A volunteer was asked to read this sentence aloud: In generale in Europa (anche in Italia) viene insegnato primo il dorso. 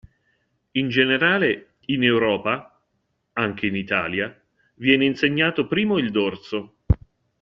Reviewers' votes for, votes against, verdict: 2, 1, accepted